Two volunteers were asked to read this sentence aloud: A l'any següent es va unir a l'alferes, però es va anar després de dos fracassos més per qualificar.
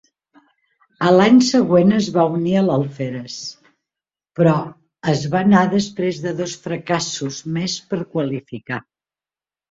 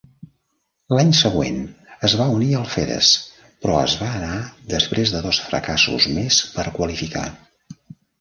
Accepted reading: first